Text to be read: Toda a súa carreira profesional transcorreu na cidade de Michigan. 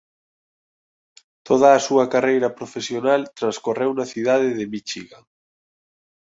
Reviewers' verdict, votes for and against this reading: accepted, 3, 0